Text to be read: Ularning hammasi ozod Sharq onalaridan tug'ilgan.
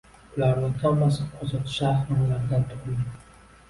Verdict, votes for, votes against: rejected, 1, 2